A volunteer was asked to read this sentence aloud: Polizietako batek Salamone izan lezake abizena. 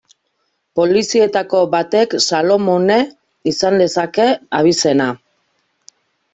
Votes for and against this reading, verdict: 1, 2, rejected